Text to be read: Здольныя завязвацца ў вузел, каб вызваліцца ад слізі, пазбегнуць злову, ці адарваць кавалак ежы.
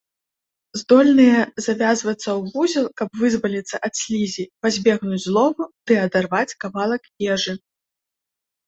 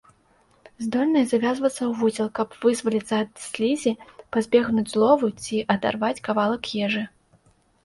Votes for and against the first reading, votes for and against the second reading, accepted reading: 1, 3, 2, 0, second